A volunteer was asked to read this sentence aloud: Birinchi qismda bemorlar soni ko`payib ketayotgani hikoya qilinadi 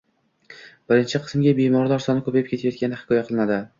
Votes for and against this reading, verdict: 0, 2, rejected